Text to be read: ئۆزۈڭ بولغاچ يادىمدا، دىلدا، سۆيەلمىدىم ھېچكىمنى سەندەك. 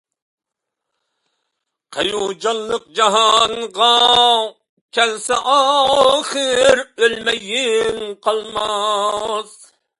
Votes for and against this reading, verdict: 0, 2, rejected